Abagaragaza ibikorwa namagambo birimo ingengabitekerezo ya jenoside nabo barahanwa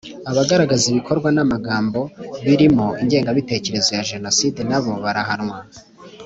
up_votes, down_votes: 2, 0